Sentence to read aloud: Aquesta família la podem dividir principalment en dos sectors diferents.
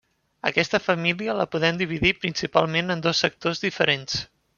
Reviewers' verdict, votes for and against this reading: accepted, 3, 0